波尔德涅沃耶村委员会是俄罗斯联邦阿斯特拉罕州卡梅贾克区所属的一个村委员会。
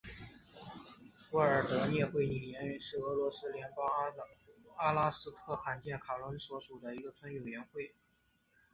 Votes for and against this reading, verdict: 1, 2, rejected